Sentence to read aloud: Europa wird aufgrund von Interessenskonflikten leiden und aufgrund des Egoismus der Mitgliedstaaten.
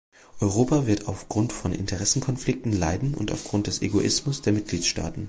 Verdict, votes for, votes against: rejected, 1, 2